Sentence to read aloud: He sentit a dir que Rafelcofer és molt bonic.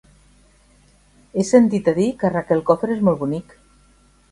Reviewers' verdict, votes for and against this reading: accepted, 2, 1